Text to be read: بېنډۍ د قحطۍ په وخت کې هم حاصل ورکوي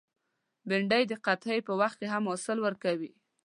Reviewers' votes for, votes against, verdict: 2, 0, accepted